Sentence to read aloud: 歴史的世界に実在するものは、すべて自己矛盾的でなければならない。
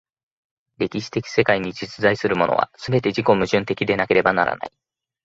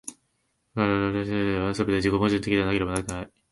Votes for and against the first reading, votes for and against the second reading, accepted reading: 2, 0, 0, 2, first